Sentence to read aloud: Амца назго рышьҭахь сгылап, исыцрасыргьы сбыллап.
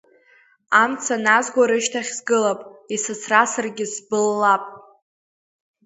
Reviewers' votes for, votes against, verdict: 2, 0, accepted